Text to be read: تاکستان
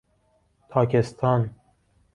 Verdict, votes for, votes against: accepted, 2, 0